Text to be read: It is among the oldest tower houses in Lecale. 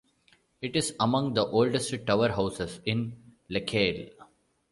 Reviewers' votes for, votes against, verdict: 2, 1, accepted